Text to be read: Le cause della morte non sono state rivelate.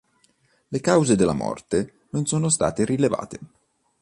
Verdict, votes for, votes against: rejected, 0, 2